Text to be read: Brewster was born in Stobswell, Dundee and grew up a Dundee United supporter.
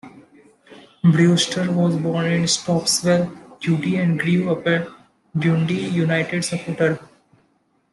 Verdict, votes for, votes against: rejected, 1, 2